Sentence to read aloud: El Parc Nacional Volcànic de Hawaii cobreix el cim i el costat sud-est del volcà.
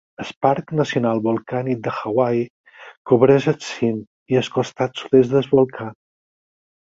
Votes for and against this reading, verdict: 4, 6, rejected